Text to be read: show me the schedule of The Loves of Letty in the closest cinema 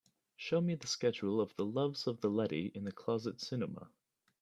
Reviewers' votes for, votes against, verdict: 0, 2, rejected